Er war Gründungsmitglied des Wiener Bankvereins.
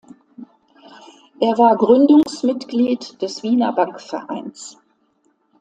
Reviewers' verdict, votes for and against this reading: accepted, 2, 0